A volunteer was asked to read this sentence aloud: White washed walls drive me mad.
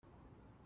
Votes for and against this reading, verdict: 0, 2, rejected